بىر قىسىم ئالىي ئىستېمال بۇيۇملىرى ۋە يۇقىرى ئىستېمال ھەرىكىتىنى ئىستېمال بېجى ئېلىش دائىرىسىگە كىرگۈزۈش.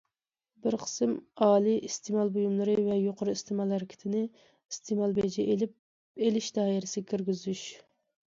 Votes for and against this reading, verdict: 0, 2, rejected